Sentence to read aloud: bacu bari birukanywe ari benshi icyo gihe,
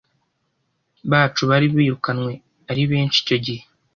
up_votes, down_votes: 2, 0